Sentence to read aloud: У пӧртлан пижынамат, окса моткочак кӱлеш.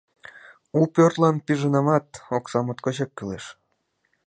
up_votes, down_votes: 2, 0